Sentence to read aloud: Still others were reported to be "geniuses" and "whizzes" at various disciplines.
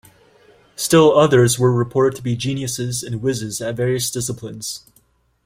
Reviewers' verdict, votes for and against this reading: accepted, 2, 0